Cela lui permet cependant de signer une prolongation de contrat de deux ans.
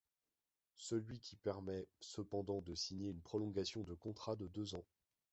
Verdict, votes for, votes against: rejected, 0, 2